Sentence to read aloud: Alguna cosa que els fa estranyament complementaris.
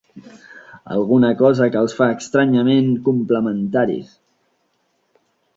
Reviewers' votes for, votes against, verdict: 3, 0, accepted